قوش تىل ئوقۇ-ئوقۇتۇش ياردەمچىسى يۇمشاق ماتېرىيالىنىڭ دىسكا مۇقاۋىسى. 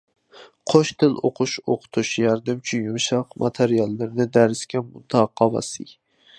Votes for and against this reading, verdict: 0, 2, rejected